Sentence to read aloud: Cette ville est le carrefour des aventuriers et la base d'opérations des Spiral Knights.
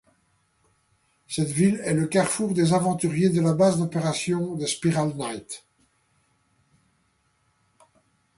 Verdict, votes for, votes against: rejected, 1, 2